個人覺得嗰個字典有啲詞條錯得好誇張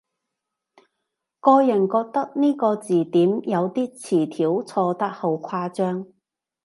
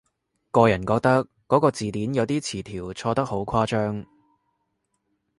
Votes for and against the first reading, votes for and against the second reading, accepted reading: 0, 2, 3, 0, second